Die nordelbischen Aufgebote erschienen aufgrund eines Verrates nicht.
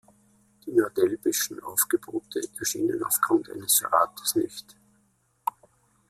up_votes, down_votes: 0, 2